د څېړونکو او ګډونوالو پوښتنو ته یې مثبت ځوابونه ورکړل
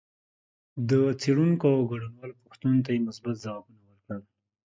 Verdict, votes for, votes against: accepted, 2, 1